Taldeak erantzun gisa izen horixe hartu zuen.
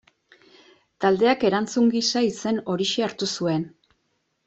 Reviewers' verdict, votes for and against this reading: accepted, 2, 0